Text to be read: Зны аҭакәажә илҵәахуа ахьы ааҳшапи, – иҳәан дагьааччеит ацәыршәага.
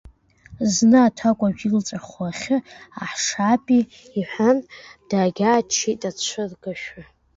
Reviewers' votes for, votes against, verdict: 1, 2, rejected